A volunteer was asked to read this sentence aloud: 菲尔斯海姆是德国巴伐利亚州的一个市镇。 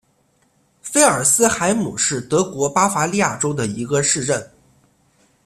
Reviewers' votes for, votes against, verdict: 2, 0, accepted